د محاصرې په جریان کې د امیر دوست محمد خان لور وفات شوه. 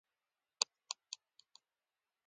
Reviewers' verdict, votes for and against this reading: rejected, 0, 2